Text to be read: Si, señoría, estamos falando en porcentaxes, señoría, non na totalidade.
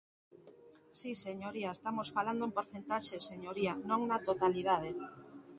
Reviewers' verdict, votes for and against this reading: accepted, 2, 0